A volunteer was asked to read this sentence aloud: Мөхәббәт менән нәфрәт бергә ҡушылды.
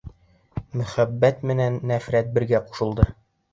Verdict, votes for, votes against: accepted, 2, 0